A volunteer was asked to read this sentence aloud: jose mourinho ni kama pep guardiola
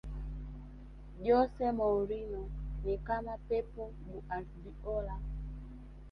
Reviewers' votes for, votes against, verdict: 2, 0, accepted